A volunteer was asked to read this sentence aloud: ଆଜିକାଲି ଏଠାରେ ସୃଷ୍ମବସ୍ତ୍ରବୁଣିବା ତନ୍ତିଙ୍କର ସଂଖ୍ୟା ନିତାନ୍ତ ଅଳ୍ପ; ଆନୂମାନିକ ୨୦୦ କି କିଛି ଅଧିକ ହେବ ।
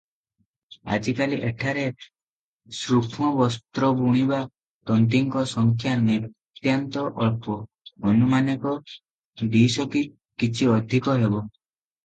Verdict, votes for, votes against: rejected, 0, 2